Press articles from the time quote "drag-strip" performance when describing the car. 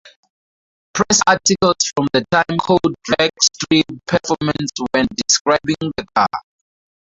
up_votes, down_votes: 2, 0